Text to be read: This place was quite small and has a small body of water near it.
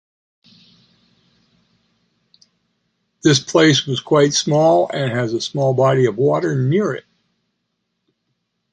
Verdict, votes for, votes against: accepted, 2, 0